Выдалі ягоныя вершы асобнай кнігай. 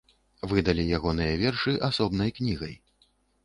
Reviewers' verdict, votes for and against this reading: accepted, 2, 0